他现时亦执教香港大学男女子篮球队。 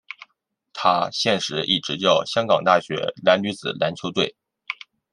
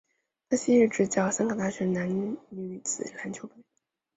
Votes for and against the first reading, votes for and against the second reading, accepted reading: 2, 0, 1, 2, first